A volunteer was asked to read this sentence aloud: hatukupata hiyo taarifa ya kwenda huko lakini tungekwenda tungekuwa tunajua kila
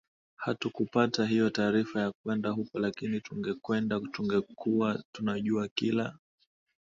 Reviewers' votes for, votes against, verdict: 2, 0, accepted